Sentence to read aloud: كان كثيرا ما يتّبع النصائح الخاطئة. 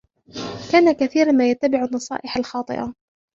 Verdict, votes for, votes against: rejected, 1, 2